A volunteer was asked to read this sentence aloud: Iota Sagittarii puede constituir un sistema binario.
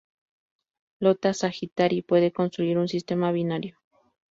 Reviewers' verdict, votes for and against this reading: accepted, 2, 0